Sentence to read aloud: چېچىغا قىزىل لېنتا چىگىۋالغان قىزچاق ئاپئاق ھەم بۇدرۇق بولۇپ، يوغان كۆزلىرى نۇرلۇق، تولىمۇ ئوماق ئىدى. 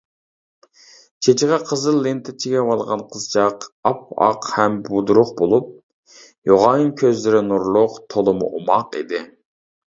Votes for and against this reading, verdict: 2, 0, accepted